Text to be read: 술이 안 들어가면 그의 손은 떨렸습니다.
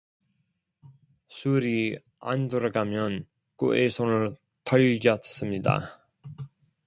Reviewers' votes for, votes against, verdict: 1, 2, rejected